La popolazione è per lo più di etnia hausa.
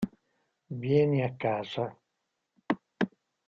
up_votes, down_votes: 0, 2